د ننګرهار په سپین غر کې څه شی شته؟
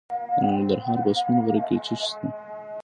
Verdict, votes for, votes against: accepted, 2, 0